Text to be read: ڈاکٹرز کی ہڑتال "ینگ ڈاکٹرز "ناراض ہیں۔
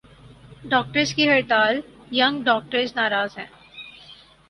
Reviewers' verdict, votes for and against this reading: accepted, 4, 0